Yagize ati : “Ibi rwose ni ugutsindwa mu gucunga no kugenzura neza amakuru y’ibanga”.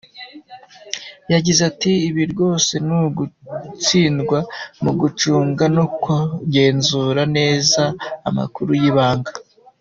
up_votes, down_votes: 2, 0